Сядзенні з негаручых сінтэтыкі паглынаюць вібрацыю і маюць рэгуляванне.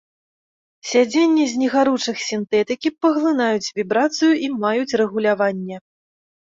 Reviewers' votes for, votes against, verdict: 2, 0, accepted